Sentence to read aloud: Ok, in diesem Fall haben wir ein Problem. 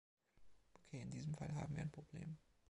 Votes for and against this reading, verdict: 2, 0, accepted